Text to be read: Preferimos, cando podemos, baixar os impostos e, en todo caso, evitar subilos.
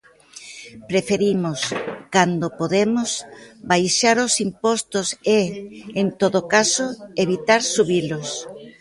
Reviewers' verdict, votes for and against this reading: accepted, 2, 1